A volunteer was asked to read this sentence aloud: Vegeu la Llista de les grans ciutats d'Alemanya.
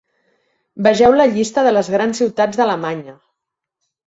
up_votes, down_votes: 2, 1